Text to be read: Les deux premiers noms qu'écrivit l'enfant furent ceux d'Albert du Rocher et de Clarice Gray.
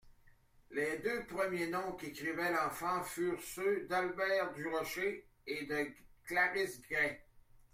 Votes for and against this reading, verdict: 1, 2, rejected